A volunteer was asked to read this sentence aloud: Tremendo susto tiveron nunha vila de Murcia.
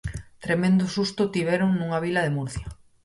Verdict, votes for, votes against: accepted, 4, 0